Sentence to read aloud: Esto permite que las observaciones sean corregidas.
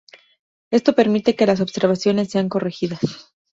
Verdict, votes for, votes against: accepted, 2, 0